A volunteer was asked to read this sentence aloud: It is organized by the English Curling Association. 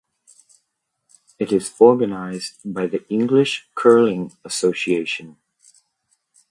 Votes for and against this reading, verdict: 2, 0, accepted